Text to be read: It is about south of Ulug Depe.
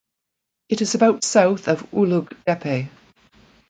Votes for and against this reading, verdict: 2, 0, accepted